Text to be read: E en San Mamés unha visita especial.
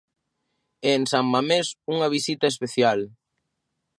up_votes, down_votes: 2, 0